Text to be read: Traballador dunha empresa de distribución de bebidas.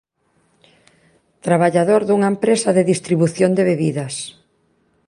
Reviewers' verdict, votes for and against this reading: accepted, 2, 0